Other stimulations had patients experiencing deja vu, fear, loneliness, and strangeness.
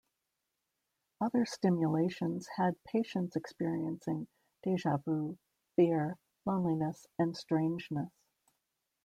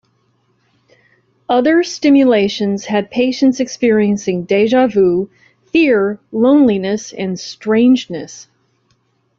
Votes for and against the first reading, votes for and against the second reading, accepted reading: 1, 2, 2, 1, second